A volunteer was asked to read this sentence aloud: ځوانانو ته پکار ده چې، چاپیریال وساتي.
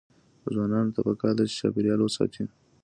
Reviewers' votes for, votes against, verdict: 2, 0, accepted